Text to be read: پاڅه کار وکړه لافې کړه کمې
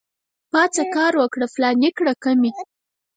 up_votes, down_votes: 2, 4